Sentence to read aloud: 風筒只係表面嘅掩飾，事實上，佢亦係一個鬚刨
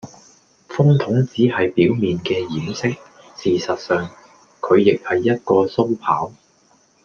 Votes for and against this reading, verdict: 2, 0, accepted